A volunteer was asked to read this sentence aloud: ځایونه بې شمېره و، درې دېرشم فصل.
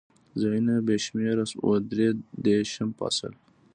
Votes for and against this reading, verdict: 2, 0, accepted